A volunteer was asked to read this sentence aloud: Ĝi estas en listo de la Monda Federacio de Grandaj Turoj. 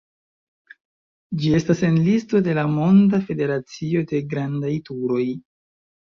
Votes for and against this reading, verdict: 2, 1, accepted